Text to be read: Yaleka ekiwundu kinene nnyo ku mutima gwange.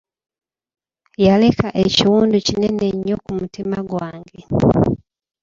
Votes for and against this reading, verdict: 2, 0, accepted